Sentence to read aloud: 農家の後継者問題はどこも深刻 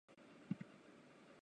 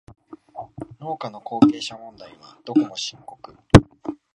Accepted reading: second